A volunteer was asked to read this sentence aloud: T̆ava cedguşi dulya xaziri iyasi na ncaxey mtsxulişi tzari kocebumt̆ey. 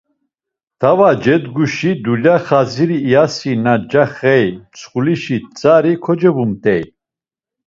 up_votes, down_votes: 2, 0